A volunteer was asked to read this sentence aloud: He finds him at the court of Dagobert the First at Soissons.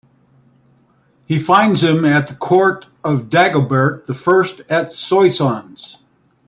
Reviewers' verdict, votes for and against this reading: accepted, 2, 1